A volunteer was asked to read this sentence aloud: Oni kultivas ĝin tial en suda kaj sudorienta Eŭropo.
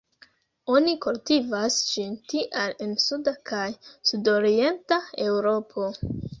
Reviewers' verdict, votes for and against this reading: accepted, 2, 1